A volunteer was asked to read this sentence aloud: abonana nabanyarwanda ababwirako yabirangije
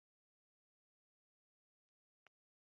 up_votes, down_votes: 0, 2